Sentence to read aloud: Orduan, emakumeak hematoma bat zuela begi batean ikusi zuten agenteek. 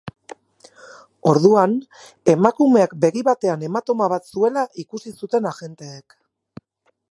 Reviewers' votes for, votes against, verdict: 2, 4, rejected